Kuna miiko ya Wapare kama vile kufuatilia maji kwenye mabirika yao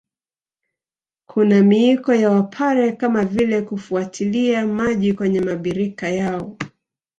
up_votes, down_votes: 1, 2